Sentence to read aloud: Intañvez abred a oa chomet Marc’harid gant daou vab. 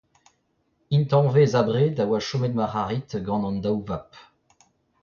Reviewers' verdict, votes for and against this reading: accepted, 2, 1